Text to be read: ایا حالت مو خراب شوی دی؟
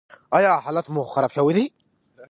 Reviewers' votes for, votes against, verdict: 2, 1, accepted